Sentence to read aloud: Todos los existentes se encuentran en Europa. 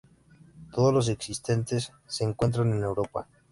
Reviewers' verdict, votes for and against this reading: accepted, 2, 0